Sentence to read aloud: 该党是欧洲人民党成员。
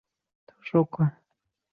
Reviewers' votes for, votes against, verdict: 0, 2, rejected